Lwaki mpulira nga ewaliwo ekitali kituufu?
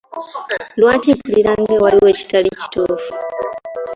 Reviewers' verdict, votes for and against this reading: accepted, 2, 0